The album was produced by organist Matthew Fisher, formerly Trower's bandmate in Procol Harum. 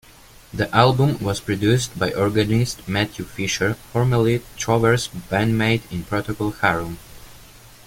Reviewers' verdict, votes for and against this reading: rejected, 0, 2